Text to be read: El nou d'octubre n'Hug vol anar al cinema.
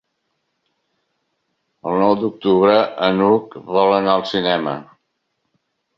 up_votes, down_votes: 0, 2